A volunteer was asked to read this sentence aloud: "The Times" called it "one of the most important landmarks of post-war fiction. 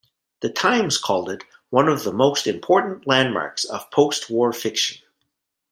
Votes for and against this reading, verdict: 3, 0, accepted